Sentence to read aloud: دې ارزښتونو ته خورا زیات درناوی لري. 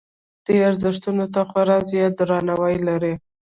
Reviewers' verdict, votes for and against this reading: rejected, 0, 2